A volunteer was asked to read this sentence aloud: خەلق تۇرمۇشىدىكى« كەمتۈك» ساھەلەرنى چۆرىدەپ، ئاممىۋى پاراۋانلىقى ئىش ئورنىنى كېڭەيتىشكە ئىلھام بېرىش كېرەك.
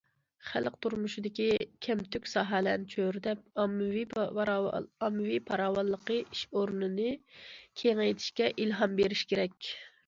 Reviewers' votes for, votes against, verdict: 0, 2, rejected